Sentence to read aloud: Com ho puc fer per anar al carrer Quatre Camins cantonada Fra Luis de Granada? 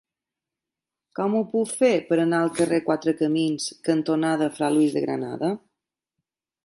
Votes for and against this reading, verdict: 3, 0, accepted